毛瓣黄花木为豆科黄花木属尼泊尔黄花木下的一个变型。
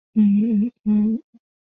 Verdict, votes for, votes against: rejected, 1, 2